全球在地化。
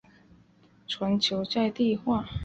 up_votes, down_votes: 2, 0